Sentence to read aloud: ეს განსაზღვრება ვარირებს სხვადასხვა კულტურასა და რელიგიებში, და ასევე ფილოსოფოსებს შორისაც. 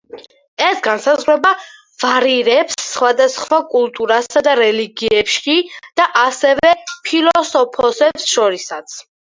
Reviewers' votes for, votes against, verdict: 4, 2, accepted